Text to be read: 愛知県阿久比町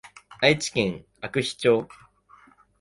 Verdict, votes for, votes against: accepted, 2, 0